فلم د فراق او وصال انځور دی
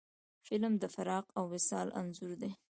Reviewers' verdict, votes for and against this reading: accepted, 2, 0